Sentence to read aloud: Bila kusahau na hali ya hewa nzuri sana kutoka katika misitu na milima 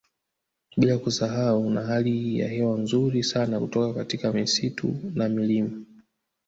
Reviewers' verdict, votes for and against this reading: accepted, 2, 0